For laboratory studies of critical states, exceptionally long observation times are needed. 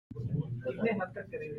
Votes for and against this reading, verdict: 0, 2, rejected